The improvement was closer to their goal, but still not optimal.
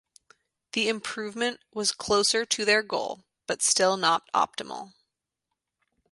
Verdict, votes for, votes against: accepted, 2, 0